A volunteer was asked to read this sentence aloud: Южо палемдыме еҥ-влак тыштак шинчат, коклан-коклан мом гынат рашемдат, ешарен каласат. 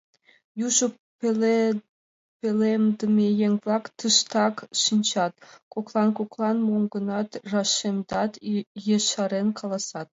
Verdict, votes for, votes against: rejected, 0, 2